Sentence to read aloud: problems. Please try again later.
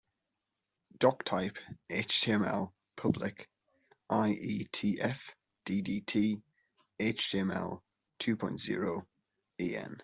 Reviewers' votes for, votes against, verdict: 0, 3, rejected